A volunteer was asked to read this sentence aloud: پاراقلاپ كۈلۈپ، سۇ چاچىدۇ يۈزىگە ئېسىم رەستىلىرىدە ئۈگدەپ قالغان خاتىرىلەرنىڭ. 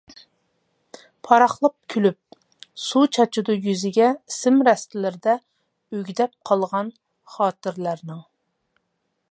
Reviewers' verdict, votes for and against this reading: rejected, 1, 2